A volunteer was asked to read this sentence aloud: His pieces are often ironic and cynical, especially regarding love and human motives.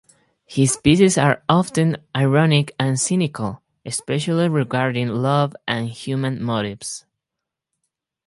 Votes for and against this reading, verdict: 4, 0, accepted